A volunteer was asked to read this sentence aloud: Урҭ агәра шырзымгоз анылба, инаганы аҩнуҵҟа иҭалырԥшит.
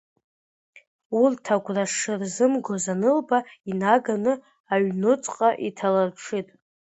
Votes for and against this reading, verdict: 1, 2, rejected